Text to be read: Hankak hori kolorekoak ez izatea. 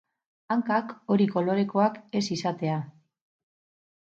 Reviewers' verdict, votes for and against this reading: rejected, 2, 2